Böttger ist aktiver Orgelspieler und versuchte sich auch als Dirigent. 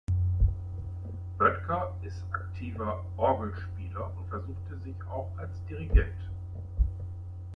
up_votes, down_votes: 2, 1